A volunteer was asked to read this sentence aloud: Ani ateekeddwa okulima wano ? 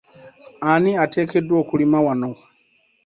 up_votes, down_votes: 2, 0